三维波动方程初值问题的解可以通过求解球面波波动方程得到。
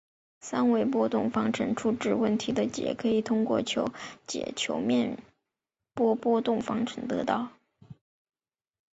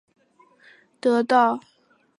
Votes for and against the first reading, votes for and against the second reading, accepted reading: 2, 0, 0, 2, first